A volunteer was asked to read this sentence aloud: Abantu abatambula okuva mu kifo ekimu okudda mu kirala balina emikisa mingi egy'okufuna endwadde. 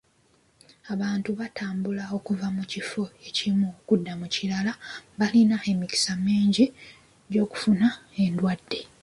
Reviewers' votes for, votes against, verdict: 0, 2, rejected